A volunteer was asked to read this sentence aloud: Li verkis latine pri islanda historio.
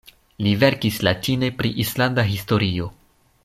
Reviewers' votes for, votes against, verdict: 2, 0, accepted